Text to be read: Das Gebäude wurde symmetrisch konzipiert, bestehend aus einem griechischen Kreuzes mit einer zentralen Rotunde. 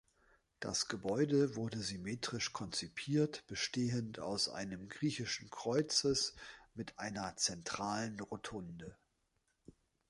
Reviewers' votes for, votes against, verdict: 2, 0, accepted